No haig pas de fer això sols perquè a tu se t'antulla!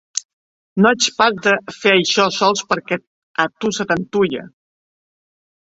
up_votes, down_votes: 0, 2